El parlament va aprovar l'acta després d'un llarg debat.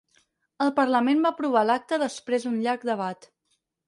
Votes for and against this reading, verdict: 4, 0, accepted